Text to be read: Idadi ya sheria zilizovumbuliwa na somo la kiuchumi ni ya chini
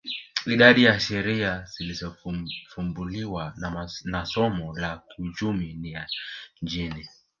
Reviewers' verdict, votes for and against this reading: rejected, 0, 2